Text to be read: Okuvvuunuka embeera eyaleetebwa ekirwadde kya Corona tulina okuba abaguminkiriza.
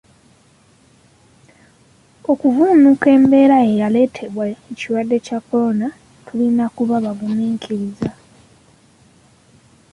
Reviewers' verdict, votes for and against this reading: rejected, 1, 2